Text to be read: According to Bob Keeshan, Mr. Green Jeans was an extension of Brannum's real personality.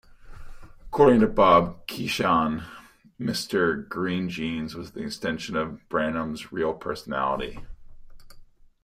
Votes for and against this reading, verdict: 2, 1, accepted